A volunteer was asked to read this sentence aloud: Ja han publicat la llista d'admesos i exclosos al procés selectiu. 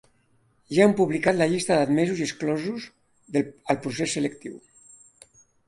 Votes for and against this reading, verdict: 1, 2, rejected